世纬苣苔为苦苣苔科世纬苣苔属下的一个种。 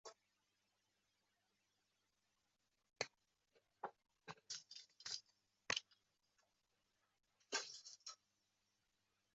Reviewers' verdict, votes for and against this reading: rejected, 0, 2